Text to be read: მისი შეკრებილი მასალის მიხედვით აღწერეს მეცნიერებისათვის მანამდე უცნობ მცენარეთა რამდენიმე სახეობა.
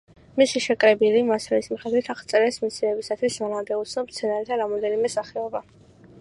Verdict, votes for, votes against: accepted, 2, 0